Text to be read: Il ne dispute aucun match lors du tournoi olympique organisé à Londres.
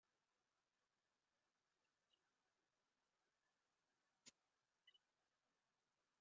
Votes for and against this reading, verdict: 0, 2, rejected